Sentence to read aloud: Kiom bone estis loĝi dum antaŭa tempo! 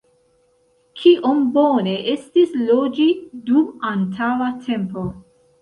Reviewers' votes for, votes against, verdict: 2, 0, accepted